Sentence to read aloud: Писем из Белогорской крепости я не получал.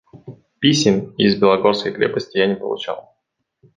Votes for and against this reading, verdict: 1, 2, rejected